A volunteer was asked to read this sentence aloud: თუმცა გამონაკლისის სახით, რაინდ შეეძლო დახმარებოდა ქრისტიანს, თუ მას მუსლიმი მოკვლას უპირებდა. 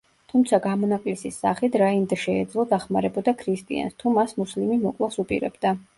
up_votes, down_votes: 1, 2